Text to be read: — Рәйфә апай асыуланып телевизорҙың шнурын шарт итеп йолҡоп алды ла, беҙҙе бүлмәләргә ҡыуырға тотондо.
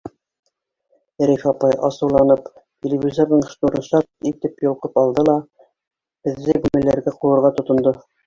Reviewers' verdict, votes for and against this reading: accepted, 2, 1